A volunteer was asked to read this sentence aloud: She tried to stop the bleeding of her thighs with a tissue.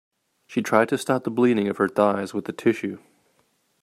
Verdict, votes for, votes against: accepted, 2, 0